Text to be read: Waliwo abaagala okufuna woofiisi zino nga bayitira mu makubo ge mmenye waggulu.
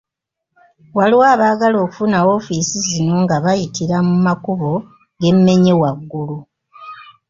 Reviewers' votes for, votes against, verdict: 2, 0, accepted